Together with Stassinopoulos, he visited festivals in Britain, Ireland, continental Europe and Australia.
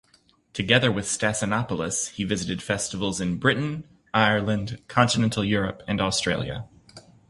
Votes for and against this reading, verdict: 2, 0, accepted